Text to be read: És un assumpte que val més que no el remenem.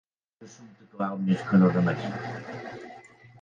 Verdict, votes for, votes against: rejected, 1, 4